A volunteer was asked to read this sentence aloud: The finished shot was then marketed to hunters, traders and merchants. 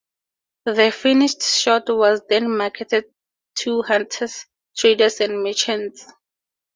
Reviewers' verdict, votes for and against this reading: accepted, 4, 0